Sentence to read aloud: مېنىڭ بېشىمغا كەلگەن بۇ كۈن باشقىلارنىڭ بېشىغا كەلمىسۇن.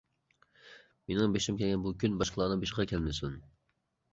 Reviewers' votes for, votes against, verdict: 2, 1, accepted